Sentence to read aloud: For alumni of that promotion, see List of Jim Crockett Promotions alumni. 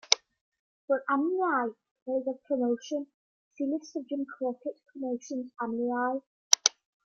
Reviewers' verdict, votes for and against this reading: accepted, 2, 1